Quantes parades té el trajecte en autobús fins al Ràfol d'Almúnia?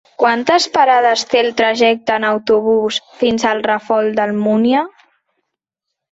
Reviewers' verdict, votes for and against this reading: rejected, 1, 2